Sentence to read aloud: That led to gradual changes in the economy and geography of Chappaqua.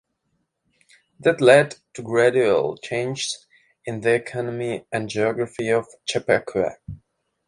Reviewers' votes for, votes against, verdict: 2, 0, accepted